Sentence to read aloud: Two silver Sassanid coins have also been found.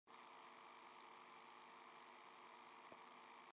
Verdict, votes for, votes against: rejected, 0, 2